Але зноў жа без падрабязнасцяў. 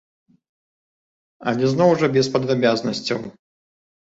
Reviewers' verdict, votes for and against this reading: accepted, 2, 0